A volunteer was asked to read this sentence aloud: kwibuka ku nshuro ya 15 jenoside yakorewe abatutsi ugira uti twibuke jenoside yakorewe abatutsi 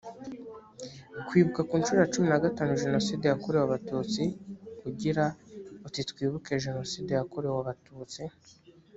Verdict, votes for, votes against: rejected, 0, 2